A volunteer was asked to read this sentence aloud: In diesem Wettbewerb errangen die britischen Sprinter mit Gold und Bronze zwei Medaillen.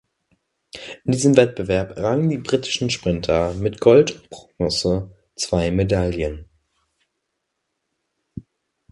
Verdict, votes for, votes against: rejected, 1, 2